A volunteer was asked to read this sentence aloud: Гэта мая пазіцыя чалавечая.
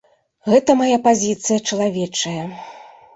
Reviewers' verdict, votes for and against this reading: accepted, 2, 0